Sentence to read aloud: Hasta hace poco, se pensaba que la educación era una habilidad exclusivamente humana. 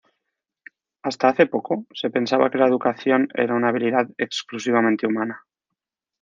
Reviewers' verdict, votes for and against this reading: accepted, 2, 0